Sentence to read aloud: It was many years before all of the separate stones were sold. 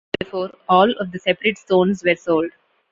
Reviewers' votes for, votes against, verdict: 0, 2, rejected